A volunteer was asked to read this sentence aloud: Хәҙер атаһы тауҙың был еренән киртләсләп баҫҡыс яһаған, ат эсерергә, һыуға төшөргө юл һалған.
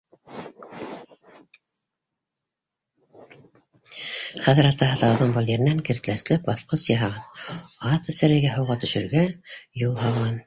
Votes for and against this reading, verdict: 1, 2, rejected